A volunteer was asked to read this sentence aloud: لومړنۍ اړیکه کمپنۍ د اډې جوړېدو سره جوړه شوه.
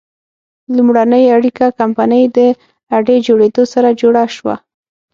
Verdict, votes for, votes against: accepted, 6, 0